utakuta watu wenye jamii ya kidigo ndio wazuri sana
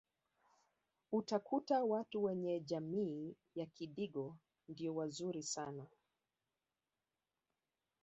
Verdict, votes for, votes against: accepted, 2, 0